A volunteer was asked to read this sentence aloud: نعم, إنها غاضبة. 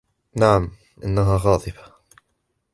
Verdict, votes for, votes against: accepted, 4, 0